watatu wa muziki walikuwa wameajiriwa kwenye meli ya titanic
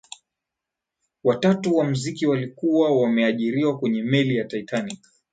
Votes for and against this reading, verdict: 0, 2, rejected